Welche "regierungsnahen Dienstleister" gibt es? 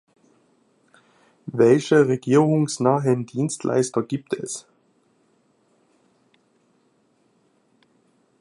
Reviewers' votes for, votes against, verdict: 2, 0, accepted